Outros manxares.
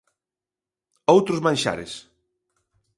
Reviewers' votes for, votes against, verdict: 2, 0, accepted